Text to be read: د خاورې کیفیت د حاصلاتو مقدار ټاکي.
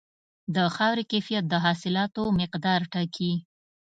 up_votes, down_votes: 2, 0